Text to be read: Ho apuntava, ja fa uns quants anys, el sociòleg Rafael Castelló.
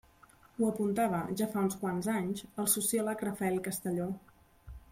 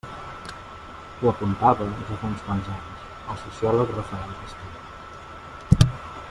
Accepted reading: first